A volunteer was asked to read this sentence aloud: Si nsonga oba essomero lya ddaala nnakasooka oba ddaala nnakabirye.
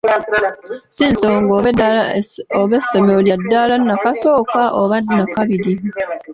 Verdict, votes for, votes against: accepted, 3, 0